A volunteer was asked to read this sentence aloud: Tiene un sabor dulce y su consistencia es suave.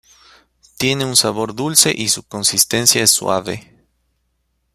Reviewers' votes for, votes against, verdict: 2, 0, accepted